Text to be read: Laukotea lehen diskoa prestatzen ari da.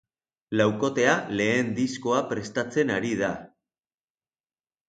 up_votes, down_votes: 2, 0